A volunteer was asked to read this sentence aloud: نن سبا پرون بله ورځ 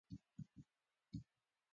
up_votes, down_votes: 1, 3